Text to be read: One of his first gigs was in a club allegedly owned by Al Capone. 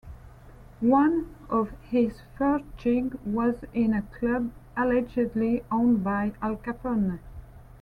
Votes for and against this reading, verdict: 0, 2, rejected